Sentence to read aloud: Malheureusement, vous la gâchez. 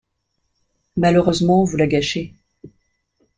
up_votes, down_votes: 2, 0